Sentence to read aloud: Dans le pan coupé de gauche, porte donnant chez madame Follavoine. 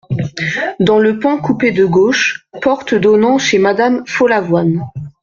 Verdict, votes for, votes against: accepted, 2, 0